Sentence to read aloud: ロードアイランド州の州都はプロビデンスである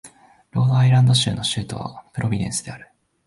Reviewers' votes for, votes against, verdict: 4, 0, accepted